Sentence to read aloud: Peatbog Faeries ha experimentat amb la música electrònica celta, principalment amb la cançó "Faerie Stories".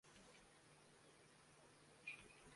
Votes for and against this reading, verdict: 0, 2, rejected